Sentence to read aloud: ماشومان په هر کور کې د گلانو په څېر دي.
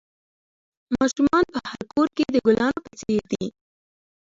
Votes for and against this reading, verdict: 2, 1, accepted